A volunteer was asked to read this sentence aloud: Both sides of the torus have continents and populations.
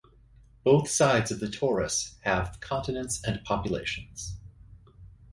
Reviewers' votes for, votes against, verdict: 4, 0, accepted